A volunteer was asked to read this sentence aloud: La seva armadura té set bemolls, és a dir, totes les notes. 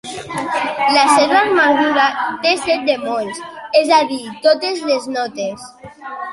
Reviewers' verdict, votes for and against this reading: accepted, 2, 0